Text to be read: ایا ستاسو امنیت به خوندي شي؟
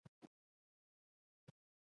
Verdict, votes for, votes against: rejected, 0, 3